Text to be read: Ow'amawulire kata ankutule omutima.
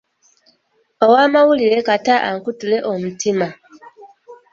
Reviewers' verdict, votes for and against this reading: accepted, 2, 1